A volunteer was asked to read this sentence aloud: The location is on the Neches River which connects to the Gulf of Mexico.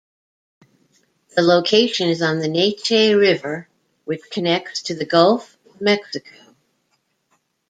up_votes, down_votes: 0, 2